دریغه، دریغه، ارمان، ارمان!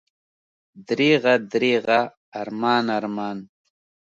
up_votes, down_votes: 3, 0